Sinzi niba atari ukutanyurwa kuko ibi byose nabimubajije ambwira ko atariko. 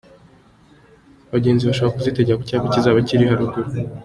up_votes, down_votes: 1, 2